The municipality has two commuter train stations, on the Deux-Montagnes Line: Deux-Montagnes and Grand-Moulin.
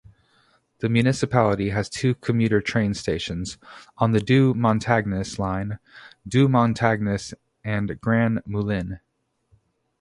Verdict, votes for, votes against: rejected, 0, 2